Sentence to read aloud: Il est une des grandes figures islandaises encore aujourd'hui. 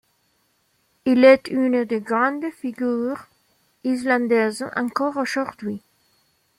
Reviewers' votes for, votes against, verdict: 2, 0, accepted